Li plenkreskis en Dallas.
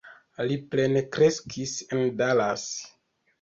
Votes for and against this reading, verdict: 1, 2, rejected